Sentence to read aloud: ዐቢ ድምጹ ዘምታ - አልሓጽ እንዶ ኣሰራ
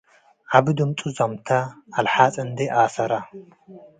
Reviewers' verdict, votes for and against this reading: accepted, 2, 0